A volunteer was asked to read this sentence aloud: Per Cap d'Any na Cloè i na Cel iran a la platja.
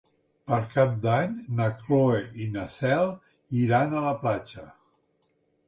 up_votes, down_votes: 1, 2